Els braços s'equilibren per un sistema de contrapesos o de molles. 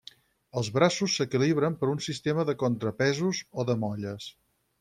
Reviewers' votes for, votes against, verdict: 6, 0, accepted